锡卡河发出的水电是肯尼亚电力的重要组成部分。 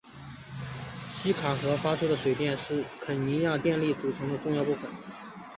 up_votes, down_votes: 1, 2